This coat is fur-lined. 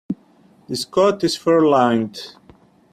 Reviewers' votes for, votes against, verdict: 2, 0, accepted